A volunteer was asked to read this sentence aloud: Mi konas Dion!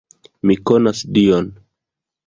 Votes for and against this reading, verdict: 2, 0, accepted